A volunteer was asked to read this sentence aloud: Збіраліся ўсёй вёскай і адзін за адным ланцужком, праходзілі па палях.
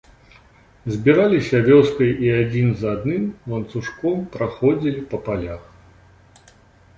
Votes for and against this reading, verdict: 0, 2, rejected